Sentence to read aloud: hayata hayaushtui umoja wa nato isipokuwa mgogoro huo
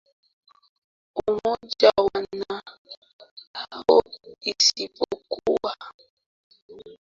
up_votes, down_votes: 0, 2